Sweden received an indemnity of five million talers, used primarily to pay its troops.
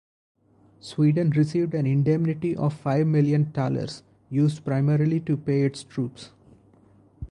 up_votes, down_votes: 0, 2